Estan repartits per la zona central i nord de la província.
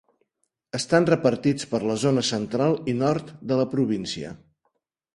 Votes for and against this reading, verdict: 2, 0, accepted